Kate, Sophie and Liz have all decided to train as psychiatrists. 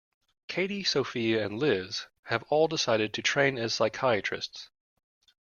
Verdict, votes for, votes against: rejected, 0, 2